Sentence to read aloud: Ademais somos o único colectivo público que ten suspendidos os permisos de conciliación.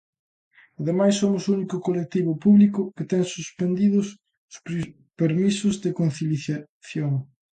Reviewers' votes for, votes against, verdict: 0, 2, rejected